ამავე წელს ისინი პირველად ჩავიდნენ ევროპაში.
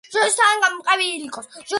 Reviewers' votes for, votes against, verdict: 0, 2, rejected